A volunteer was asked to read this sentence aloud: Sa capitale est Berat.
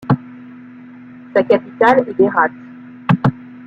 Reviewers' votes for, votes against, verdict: 0, 2, rejected